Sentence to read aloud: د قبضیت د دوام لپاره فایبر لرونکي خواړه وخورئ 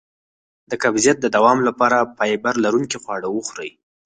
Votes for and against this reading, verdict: 2, 4, rejected